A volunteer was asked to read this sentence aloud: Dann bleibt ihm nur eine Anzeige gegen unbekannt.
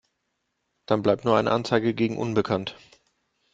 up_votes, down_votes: 0, 2